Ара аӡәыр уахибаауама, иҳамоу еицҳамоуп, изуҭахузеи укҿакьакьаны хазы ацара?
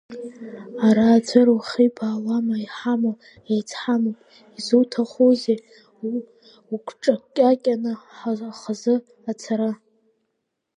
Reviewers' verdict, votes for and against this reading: rejected, 0, 2